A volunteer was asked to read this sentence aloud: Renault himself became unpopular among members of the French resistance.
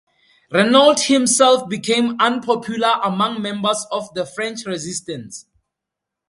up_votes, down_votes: 2, 0